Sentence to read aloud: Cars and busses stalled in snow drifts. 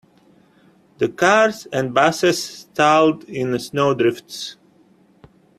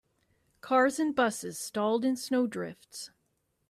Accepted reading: second